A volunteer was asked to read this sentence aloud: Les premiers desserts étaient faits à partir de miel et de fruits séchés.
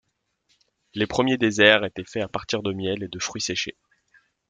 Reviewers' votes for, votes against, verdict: 0, 2, rejected